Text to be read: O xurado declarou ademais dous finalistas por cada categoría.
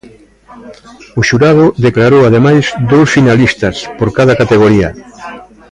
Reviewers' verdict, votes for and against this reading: accepted, 2, 0